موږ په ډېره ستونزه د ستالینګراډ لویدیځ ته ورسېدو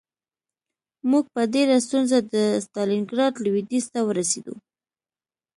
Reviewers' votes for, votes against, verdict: 2, 0, accepted